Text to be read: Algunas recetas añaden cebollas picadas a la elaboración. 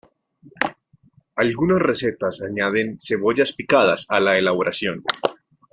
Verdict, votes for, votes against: accepted, 2, 0